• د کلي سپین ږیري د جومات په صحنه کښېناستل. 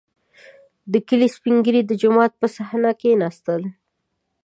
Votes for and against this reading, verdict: 2, 0, accepted